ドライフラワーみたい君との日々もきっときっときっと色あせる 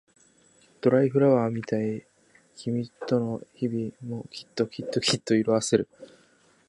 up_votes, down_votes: 2, 0